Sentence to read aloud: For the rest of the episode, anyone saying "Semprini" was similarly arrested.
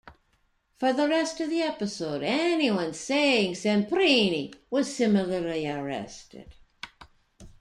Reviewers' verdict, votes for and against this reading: rejected, 1, 2